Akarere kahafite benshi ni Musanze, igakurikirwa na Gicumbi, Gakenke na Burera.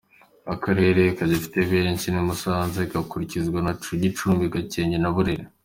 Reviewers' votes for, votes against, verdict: 2, 0, accepted